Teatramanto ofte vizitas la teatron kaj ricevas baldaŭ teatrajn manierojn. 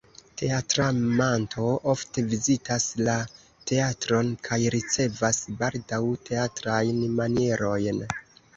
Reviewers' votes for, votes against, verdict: 0, 2, rejected